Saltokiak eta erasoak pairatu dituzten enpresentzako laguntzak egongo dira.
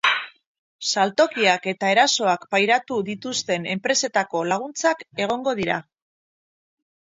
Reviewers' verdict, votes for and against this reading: rejected, 0, 4